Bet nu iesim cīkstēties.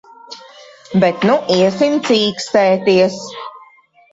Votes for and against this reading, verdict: 2, 1, accepted